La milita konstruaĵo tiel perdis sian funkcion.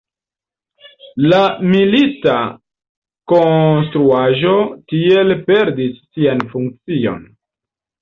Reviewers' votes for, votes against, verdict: 1, 2, rejected